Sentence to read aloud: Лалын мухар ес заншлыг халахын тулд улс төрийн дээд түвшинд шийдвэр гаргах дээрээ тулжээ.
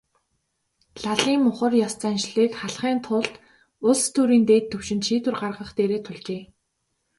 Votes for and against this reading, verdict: 2, 0, accepted